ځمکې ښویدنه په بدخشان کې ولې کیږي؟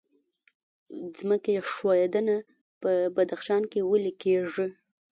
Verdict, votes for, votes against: rejected, 1, 2